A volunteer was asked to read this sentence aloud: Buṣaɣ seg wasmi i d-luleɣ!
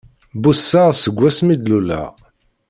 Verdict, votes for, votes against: rejected, 1, 2